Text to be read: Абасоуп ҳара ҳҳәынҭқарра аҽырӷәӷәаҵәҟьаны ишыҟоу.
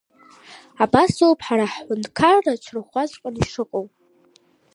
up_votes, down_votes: 0, 2